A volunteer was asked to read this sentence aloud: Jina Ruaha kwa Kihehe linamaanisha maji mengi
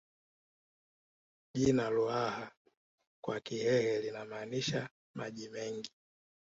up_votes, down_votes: 2, 0